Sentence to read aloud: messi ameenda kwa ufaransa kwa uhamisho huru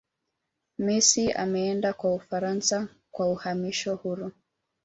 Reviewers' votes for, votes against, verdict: 1, 2, rejected